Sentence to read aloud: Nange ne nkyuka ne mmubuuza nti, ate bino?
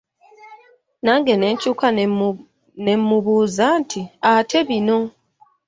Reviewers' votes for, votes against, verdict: 1, 2, rejected